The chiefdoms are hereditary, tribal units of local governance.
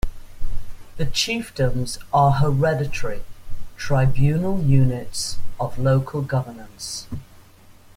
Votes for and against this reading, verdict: 1, 2, rejected